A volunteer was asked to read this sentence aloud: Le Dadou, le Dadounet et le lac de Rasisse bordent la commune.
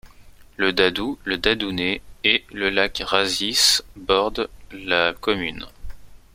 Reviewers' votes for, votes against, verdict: 2, 1, accepted